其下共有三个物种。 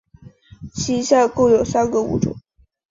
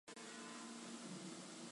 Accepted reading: first